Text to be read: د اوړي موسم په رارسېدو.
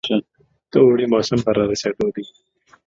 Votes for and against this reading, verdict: 1, 2, rejected